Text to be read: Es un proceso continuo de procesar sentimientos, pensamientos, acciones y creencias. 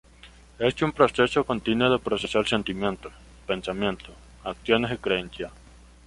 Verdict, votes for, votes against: accepted, 2, 0